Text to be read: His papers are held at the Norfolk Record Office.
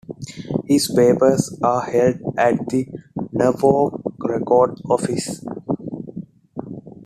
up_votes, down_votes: 2, 0